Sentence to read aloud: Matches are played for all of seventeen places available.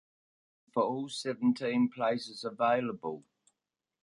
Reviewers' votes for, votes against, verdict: 0, 2, rejected